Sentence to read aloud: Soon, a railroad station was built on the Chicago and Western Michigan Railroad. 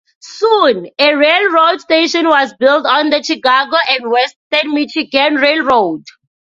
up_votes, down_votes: 2, 0